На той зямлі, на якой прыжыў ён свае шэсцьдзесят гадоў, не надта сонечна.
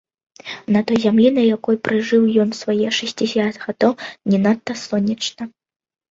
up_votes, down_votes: 1, 2